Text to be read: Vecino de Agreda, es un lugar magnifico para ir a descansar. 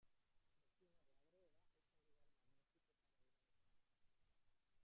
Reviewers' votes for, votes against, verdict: 0, 2, rejected